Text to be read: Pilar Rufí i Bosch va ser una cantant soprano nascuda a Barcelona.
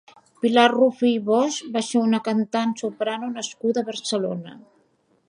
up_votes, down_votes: 2, 1